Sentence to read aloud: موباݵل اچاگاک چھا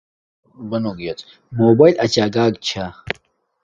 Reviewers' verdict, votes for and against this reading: rejected, 1, 2